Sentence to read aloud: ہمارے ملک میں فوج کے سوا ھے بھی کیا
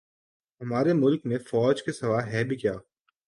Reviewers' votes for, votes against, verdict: 4, 0, accepted